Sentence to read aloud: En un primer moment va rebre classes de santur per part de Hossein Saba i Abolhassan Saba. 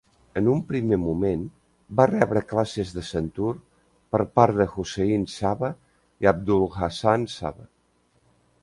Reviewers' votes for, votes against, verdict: 0, 2, rejected